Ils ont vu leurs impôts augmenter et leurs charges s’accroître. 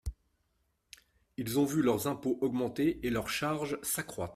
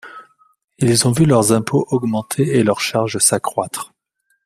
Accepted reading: second